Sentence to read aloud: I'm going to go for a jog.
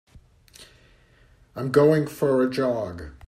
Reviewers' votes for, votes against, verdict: 0, 2, rejected